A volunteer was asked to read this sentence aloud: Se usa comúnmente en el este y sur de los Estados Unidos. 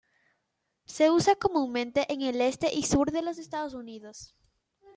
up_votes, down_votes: 2, 0